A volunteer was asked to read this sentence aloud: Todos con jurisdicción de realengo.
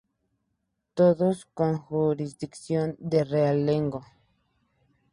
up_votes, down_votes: 2, 0